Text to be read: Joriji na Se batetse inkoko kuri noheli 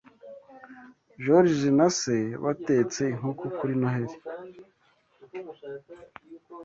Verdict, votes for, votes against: accepted, 2, 0